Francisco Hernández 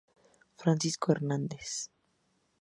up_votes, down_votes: 2, 0